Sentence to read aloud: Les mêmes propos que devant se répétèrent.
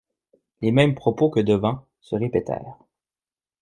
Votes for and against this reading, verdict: 2, 0, accepted